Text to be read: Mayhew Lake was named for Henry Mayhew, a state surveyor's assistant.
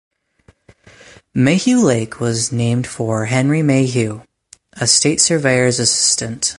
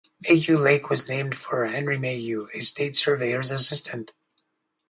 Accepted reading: first